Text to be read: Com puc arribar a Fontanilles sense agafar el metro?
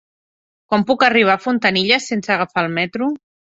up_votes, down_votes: 2, 0